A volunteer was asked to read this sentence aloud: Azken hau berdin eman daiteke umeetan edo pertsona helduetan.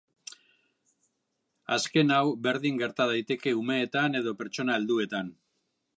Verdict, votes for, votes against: rejected, 1, 2